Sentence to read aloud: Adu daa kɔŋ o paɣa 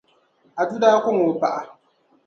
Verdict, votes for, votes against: accepted, 2, 0